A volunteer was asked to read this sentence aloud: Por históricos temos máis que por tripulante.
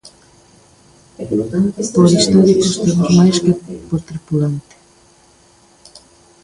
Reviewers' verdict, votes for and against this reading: rejected, 0, 2